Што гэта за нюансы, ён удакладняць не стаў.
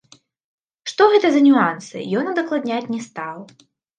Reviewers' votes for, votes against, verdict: 3, 2, accepted